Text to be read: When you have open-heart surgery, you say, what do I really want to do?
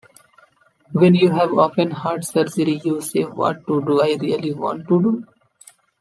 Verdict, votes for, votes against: accepted, 2, 0